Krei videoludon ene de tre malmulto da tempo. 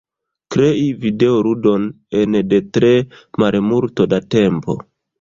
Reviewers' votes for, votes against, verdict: 0, 2, rejected